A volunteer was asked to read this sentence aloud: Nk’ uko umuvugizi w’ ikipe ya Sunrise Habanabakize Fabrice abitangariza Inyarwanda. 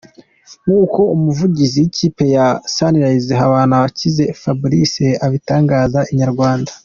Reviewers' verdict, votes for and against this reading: accepted, 2, 1